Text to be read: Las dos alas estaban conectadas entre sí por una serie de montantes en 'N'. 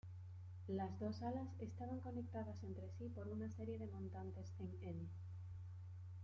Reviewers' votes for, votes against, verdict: 0, 2, rejected